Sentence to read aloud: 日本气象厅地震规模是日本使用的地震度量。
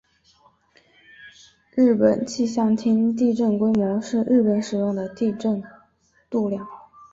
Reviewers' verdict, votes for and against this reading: rejected, 1, 2